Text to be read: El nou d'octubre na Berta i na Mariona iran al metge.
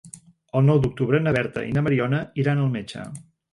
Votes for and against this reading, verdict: 2, 0, accepted